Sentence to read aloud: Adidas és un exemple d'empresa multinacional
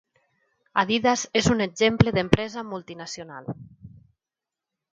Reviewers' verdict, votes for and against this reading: accepted, 3, 0